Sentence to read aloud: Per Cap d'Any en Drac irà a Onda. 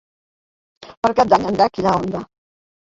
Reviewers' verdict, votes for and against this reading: rejected, 0, 2